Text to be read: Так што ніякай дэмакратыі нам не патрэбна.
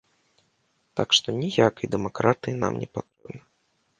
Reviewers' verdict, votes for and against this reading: rejected, 0, 2